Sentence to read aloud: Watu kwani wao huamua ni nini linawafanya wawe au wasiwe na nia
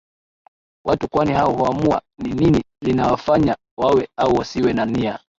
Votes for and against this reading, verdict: 0, 2, rejected